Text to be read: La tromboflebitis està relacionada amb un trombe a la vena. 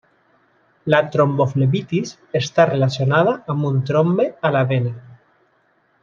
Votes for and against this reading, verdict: 2, 0, accepted